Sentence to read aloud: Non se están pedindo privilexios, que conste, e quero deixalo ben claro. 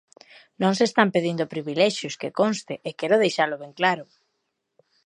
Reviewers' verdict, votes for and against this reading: accepted, 2, 0